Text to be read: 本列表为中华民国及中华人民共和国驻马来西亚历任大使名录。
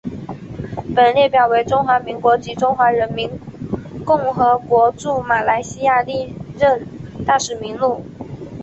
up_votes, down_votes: 2, 1